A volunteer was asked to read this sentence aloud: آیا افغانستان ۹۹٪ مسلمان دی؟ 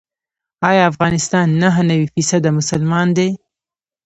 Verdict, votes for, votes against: rejected, 0, 2